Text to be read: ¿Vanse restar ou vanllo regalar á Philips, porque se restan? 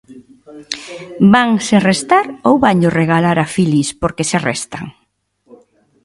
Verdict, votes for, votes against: rejected, 1, 2